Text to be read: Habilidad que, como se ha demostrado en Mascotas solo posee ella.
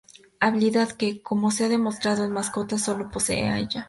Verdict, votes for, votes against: accepted, 2, 0